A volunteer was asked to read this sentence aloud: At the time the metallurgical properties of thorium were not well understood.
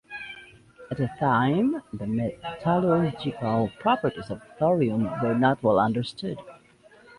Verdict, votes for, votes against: accepted, 2, 0